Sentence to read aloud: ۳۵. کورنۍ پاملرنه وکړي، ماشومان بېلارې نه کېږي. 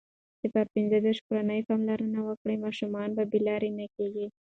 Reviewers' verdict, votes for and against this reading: rejected, 0, 2